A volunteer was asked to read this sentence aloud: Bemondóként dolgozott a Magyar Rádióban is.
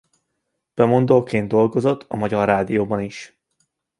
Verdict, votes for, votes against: accepted, 2, 0